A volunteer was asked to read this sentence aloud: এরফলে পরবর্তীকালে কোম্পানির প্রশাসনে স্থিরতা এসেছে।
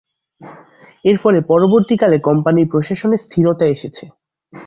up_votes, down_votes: 4, 0